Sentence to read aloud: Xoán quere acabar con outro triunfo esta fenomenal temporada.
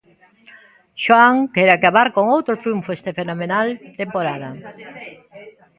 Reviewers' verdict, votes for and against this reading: rejected, 0, 2